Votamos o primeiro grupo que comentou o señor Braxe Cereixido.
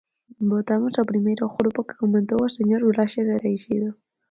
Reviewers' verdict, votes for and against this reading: accepted, 4, 0